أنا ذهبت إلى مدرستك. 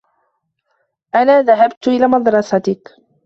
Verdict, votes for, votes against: accepted, 2, 0